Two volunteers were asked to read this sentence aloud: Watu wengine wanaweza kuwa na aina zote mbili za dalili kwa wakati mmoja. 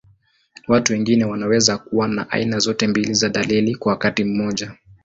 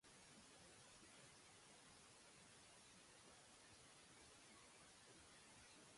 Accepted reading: first